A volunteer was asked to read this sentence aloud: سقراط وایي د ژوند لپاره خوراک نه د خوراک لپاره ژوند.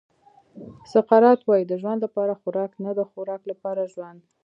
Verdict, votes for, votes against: rejected, 0, 2